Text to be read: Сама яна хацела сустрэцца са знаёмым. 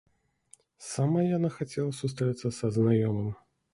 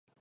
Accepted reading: first